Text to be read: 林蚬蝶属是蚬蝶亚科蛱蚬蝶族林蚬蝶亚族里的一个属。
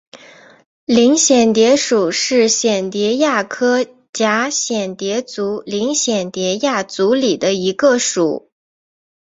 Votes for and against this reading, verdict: 2, 1, accepted